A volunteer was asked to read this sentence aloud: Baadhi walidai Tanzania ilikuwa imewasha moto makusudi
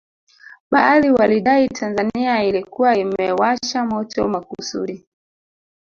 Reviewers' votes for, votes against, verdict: 1, 2, rejected